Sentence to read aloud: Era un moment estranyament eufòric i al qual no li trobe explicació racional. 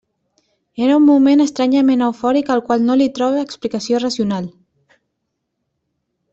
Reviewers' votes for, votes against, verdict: 0, 2, rejected